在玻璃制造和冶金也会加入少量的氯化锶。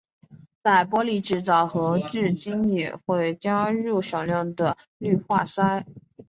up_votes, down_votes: 1, 2